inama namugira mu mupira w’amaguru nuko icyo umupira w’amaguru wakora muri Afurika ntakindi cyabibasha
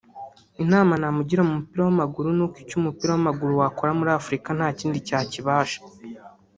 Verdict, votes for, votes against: rejected, 0, 2